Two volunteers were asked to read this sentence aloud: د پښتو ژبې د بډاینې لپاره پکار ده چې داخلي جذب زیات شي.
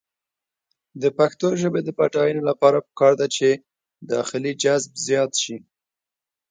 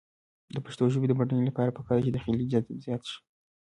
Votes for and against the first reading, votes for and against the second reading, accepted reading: 1, 2, 2, 0, second